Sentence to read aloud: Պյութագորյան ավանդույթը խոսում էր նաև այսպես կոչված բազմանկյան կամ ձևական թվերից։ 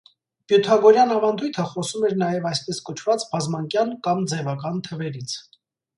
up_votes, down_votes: 2, 0